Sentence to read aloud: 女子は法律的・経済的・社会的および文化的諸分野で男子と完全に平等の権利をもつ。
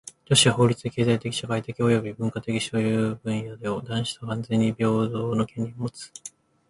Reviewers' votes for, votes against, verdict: 1, 2, rejected